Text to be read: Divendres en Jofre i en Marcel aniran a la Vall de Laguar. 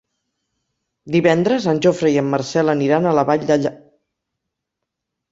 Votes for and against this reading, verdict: 2, 4, rejected